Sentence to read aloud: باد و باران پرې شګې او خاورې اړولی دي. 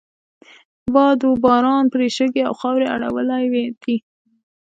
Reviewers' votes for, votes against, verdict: 2, 0, accepted